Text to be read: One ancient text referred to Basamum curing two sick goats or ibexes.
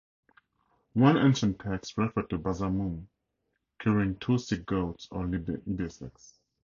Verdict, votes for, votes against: rejected, 0, 2